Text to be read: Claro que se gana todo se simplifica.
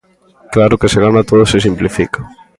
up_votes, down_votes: 0, 2